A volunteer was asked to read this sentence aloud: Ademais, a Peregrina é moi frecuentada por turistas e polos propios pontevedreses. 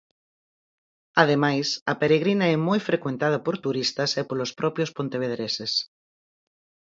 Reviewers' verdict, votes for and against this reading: accepted, 4, 0